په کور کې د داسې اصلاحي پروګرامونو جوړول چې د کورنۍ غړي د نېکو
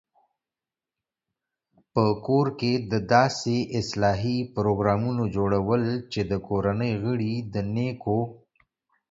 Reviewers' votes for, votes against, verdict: 2, 0, accepted